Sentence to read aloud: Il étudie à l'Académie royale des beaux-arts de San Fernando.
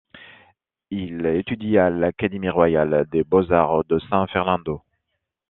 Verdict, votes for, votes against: accepted, 2, 1